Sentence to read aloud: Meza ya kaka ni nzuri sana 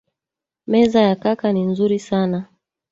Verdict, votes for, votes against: rejected, 1, 2